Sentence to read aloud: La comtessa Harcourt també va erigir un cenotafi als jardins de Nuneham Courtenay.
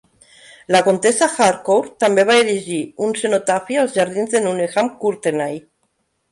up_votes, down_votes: 1, 2